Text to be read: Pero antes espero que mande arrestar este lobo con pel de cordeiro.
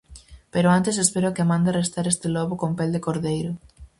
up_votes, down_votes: 4, 0